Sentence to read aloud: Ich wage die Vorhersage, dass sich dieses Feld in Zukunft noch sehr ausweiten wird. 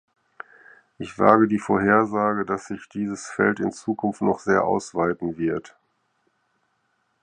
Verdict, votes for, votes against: accepted, 4, 0